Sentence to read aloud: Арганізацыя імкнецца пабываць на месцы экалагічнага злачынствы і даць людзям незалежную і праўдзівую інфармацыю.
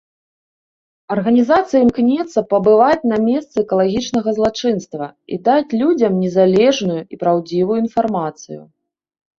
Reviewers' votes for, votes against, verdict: 0, 2, rejected